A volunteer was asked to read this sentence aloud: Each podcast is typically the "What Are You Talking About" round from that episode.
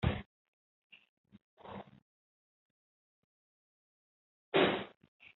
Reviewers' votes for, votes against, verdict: 0, 2, rejected